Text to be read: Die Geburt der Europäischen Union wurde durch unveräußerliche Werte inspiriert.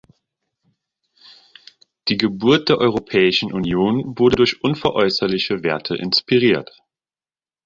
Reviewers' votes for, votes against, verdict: 2, 0, accepted